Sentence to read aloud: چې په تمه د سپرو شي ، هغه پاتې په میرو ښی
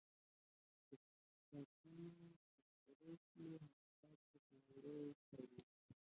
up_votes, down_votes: 1, 4